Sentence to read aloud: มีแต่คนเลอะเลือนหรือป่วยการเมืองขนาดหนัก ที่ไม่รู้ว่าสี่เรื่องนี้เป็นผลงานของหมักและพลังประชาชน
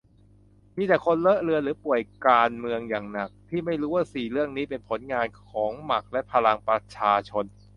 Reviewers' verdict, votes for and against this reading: rejected, 0, 2